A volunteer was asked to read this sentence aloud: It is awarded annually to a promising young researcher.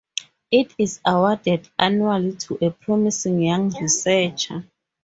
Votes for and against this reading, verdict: 2, 0, accepted